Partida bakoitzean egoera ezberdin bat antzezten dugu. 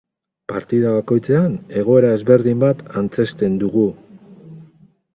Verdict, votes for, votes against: accepted, 8, 0